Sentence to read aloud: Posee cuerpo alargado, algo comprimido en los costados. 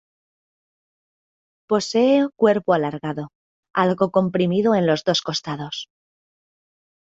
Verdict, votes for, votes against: rejected, 1, 2